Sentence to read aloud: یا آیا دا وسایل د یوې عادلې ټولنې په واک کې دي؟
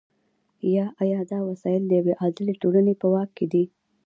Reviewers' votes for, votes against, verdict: 2, 1, accepted